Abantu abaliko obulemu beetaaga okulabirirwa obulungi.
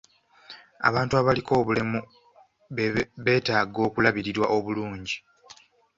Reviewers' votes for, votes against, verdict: 0, 2, rejected